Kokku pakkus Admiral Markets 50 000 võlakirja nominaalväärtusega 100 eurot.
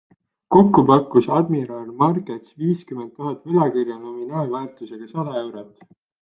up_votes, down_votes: 0, 2